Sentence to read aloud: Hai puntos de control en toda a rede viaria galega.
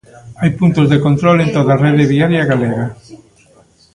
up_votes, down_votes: 2, 1